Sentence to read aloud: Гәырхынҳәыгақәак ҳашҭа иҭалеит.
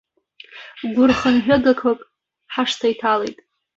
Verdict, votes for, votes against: rejected, 1, 2